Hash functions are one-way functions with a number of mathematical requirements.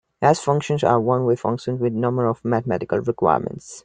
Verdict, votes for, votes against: rejected, 0, 2